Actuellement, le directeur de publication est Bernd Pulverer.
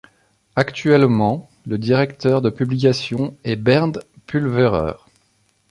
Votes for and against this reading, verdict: 2, 0, accepted